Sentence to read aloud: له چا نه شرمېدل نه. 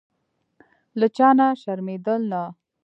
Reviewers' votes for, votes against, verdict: 1, 2, rejected